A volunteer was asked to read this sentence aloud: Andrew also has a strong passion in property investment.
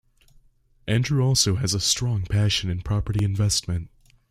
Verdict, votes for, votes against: accepted, 2, 0